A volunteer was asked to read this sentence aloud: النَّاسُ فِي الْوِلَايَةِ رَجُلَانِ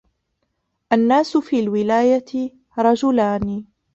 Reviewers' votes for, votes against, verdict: 0, 2, rejected